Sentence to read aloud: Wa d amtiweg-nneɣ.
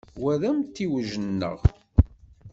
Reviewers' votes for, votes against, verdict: 0, 2, rejected